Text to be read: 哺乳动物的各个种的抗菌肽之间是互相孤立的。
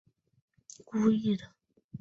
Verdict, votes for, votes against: rejected, 1, 2